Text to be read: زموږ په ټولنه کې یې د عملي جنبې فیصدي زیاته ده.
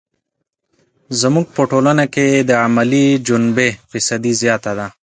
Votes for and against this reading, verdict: 2, 0, accepted